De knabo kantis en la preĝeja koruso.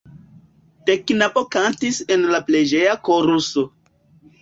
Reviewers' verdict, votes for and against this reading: rejected, 1, 2